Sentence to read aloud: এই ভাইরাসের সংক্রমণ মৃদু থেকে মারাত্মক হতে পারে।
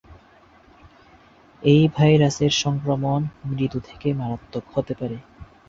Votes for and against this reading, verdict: 4, 0, accepted